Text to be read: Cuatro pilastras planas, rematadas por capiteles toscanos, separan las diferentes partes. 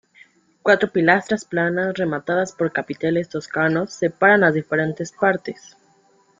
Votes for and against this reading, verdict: 2, 0, accepted